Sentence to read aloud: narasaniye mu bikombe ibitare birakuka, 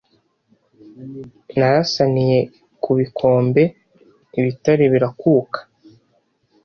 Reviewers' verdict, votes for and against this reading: rejected, 1, 2